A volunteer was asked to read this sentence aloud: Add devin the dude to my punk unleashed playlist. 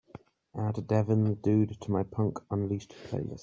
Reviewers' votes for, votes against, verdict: 2, 1, accepted